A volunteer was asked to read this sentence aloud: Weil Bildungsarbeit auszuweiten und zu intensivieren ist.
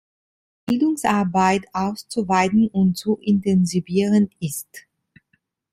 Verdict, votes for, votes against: rejected, 0, 2